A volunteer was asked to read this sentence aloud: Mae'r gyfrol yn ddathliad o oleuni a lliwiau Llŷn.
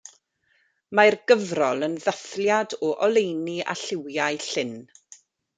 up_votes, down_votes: 0, 2